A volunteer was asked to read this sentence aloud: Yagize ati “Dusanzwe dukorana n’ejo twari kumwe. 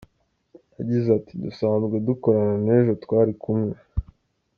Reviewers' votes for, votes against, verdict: 2, 0, accepted